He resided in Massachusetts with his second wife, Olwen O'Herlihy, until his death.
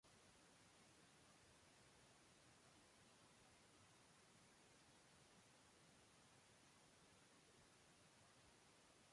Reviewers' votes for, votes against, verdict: 0, 2, rejected